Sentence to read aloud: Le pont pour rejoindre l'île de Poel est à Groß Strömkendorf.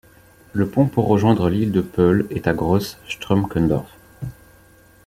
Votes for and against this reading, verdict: 1, 2, rejected